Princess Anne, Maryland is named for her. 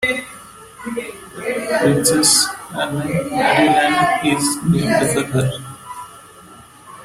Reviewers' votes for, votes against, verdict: 1, 2, rejected